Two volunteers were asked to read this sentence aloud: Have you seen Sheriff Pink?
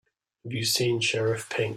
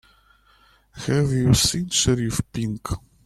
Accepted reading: second